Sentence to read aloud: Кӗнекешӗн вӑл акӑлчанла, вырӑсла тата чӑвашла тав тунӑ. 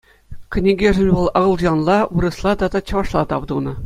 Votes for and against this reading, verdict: 2, 1, accepted